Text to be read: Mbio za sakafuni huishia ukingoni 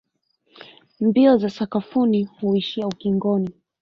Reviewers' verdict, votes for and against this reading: rejected, 0, 2